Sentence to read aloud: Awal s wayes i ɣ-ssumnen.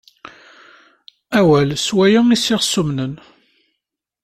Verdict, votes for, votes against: rejected, 1, 2